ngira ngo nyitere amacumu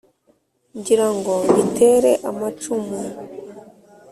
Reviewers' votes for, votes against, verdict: 2, 0, accepted